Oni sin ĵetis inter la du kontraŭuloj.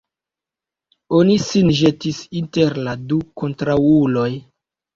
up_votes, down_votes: 2, 3